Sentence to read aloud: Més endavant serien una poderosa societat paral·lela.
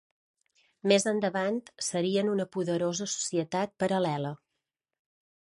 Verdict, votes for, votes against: accepted, 2, 0